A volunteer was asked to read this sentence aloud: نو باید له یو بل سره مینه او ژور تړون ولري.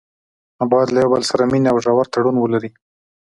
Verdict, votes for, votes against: accepted, 2, 0